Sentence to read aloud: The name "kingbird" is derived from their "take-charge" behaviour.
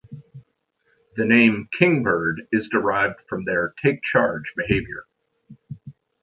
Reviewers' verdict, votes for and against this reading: accepted, 2, 0